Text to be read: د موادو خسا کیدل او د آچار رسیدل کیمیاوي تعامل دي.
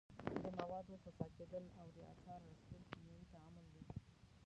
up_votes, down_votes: 0, 2